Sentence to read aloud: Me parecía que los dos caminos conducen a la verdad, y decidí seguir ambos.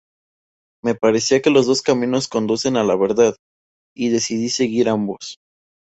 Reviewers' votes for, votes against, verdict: 2, 0, accepted